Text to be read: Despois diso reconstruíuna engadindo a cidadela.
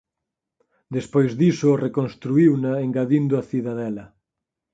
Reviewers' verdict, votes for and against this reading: accepted, 6, 0